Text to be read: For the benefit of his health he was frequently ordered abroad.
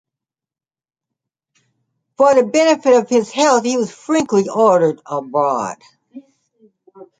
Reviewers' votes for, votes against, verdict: 1, 2, rejected